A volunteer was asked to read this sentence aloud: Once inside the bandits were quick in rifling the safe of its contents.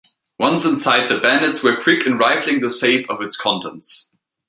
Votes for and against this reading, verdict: 2, 0, accepted